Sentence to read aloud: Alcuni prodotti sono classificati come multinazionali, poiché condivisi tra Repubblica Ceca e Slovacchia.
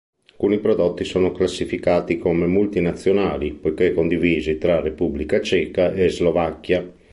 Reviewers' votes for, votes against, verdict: 2, 1, accepted